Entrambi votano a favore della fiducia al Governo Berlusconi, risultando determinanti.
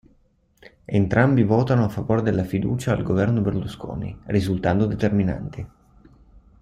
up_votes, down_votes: 2, 0